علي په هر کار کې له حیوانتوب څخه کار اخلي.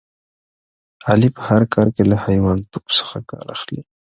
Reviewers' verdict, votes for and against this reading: accepted, 2, 1